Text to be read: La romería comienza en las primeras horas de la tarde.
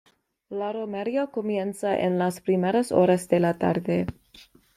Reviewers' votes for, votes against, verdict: 2, 0, accepted